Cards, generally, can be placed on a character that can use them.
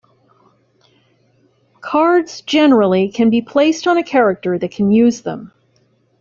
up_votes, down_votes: 2, 0